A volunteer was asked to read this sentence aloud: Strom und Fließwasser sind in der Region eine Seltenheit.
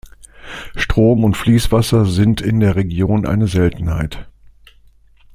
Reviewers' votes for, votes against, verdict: 2, 0, accepted